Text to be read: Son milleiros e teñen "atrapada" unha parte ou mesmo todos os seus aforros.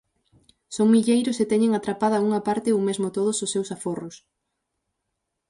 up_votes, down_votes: 6, 0